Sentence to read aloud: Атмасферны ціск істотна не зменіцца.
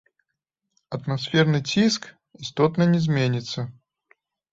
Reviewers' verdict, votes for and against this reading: rejected, 1, 3